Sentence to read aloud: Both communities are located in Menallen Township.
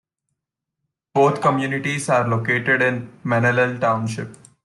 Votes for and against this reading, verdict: 2, 0, accepted